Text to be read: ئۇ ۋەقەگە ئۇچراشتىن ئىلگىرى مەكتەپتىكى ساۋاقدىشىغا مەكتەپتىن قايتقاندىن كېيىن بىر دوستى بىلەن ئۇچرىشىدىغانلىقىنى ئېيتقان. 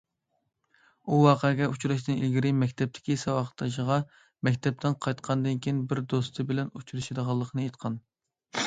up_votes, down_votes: 2, 0